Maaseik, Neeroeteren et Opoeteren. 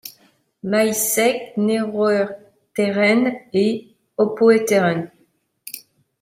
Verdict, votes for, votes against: rejected, 1, 2